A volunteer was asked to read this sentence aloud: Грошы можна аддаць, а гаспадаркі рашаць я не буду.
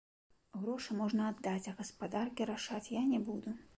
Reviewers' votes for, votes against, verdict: 2, 0, accepted